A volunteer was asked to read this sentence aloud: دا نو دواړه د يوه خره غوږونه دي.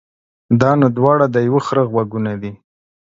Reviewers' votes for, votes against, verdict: 2, 0, accepted